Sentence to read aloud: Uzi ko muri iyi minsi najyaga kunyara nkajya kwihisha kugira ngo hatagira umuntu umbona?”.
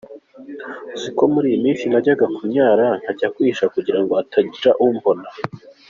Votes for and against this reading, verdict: 4, 1, accepted